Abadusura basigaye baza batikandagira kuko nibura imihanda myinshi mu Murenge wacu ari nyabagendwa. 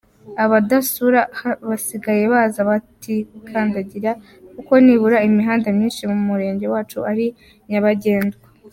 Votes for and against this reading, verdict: 2, 0, accepted